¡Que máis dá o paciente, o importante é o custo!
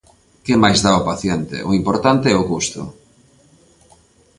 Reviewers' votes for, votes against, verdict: 2, 0, accepted